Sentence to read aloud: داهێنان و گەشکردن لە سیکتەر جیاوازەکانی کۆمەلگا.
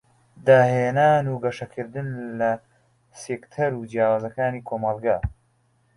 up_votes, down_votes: 0, 2